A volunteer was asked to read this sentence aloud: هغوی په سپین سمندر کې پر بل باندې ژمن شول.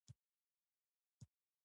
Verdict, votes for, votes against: accepted, 2, 0